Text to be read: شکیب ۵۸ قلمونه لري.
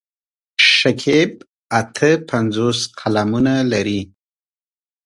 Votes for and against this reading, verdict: 0, 2, rejected